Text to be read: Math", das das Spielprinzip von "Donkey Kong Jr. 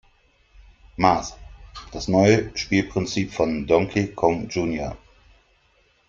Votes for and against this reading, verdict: 1, 2, rejected